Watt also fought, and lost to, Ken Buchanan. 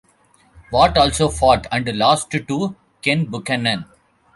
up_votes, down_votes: 2, 1